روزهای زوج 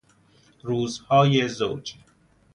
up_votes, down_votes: 2, 0